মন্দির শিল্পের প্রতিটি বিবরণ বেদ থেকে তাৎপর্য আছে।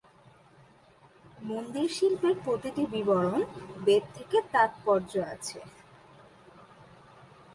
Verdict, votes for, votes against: accepted, 2, 0